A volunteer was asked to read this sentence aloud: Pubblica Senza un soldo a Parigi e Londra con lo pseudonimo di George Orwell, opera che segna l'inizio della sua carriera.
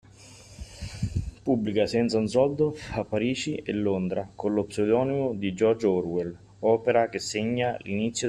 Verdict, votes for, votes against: rejected, 0, 2